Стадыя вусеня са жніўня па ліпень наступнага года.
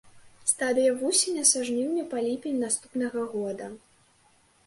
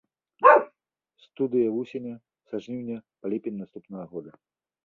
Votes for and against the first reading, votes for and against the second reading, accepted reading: 2, 0, 1, 2, first